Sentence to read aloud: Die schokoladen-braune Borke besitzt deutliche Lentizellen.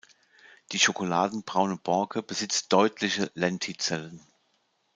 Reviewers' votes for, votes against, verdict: 2, 0, accepted